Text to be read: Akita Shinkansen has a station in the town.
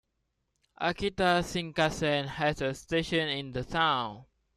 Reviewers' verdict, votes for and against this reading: accepted, 2, 0